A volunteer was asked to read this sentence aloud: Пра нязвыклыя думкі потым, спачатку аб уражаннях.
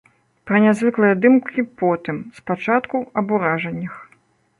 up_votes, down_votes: 0, 2